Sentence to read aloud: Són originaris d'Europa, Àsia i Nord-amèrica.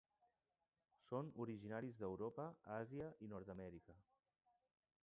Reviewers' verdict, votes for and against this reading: rejected, 2, 3